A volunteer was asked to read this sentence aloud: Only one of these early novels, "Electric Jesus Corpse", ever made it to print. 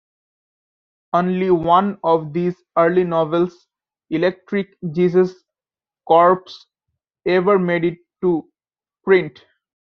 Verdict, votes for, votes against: accepted, 2, 0